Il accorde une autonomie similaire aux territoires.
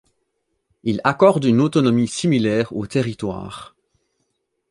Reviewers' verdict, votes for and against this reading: accepted, 2, 0